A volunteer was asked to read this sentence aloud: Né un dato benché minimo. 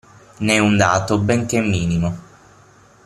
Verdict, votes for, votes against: accepted, 6, 0